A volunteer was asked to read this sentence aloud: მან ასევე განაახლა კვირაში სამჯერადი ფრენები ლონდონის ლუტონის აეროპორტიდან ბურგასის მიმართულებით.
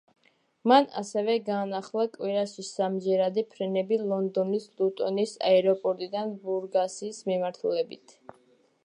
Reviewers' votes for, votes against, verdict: 1, 2, rejected